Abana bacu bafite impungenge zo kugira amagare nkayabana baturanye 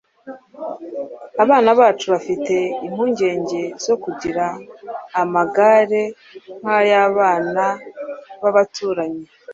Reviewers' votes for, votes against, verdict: 1, 2, rejected